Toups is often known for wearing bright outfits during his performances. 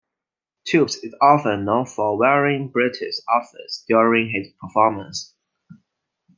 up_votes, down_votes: 2, 1